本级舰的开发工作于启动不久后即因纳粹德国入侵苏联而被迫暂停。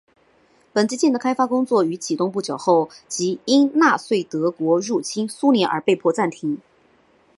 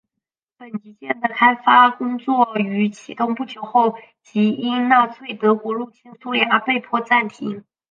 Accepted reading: first